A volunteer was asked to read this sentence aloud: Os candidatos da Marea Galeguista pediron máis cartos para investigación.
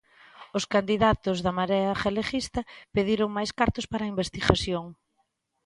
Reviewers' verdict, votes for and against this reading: accepted, 2, 1